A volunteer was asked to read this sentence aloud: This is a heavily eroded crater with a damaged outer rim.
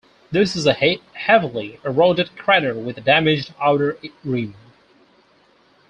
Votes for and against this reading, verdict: 0, 4, rejected